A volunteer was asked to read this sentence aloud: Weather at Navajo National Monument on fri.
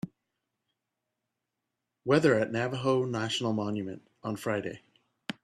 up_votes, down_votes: 0, 2